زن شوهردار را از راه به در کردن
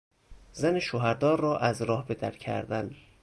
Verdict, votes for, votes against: rejected, 0, 2